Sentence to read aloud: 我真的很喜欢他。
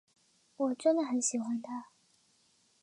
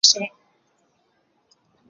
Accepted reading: first